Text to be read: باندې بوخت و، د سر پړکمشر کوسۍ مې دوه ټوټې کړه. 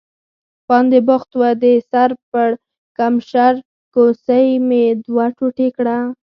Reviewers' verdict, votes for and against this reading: rejected, 2, 4